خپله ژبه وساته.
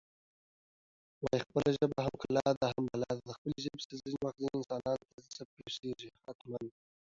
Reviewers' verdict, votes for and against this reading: rejected, 0, 2